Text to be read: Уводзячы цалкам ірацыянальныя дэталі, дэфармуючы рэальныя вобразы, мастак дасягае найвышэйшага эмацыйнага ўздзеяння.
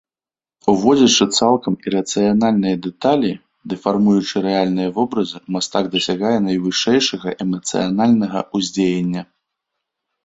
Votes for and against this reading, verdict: 1, 2, rejected